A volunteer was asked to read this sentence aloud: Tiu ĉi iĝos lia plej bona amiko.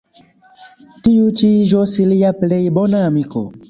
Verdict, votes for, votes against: accepted, 2, 0